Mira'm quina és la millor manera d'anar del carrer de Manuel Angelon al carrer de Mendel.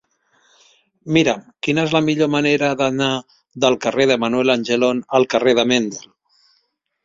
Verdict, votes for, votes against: accepted, 3, 1